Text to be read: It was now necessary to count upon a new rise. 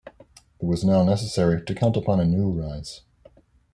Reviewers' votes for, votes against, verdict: 0, 2, rejected